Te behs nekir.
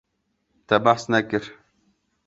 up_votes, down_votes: 2, 0